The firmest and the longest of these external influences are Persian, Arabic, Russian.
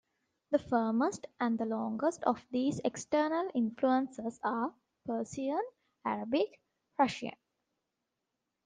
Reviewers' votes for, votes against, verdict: 1, 2, rejected